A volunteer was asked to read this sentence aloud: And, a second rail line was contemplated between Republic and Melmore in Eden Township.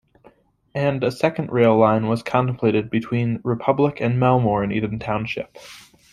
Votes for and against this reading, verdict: 2, 0, accepted